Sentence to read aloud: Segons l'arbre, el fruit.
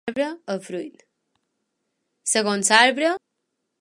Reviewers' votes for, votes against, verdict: 1, 2, rejected